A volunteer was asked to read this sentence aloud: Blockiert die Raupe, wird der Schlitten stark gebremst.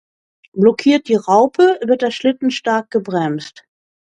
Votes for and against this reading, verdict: 2, 0, accepted